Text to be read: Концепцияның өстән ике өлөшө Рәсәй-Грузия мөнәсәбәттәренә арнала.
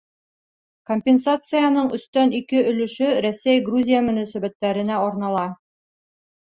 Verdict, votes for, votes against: rejected, 0, 2